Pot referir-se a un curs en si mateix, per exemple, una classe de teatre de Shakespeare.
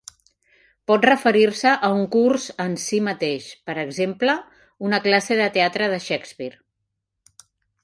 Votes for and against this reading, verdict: 4, 0, accepted